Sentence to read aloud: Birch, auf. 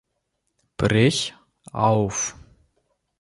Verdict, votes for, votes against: rejected, 0, 2